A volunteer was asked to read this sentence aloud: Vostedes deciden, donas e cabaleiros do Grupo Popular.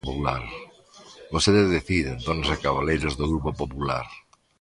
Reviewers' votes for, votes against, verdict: 1, 2, rejected